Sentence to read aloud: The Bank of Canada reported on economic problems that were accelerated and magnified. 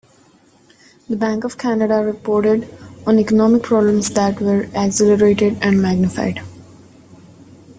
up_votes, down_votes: 3, 0